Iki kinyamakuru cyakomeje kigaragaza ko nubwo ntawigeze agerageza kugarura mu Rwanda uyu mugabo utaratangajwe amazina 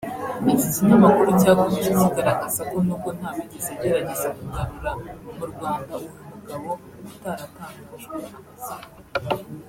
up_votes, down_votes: 1, 2